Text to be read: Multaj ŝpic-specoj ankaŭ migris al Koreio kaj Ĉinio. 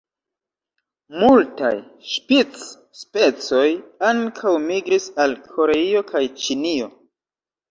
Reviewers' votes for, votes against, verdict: 0, 2, rejected